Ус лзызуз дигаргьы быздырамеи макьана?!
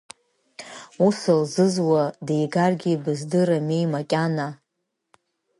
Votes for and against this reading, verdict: 2, 1, accepted